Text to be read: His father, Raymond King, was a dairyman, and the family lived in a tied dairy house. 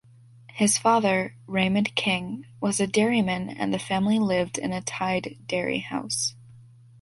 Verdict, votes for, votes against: accepted, 2, 0